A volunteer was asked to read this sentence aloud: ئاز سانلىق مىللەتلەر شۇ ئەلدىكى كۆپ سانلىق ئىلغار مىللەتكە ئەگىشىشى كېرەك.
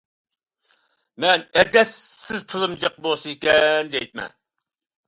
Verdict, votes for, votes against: rejected, 0, 2